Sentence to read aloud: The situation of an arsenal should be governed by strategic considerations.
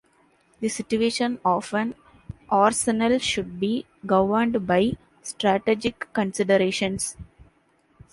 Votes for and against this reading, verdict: 1, 2, rejected